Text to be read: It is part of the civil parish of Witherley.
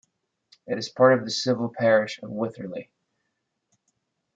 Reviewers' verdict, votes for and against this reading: accepted, 2, 0